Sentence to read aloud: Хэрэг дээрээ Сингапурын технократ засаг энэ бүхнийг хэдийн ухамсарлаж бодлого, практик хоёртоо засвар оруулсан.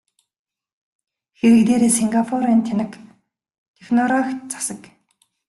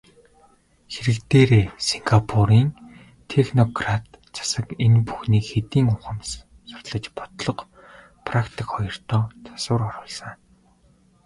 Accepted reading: second